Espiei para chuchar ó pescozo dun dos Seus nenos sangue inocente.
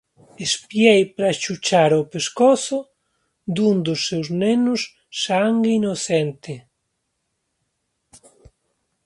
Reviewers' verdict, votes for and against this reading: accepted, 2, 1